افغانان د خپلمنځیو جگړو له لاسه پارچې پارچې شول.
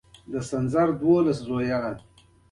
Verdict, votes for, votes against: accepted, 2, 1